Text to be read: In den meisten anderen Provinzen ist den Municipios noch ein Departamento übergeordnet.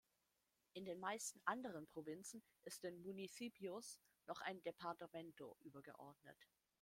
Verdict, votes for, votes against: rejected, 1, 2